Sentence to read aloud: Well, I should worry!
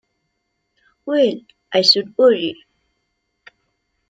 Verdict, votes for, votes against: accepted, 2, 0